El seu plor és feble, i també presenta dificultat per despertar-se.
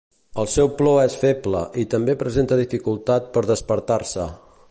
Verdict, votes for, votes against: accepted, 2, 0